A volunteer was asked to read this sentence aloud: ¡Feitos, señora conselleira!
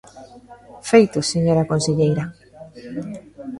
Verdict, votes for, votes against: accepted, 2, 1